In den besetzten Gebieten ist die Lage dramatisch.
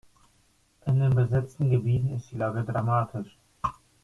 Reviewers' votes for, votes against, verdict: 2, 0, accepted